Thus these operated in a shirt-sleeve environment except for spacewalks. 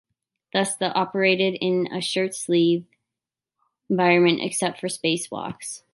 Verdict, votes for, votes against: rejected, 0, 2